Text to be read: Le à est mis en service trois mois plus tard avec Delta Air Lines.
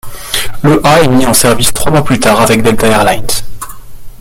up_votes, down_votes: 0, 2